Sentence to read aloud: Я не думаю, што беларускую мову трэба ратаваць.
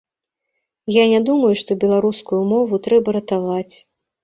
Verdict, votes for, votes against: accepted, 2, 0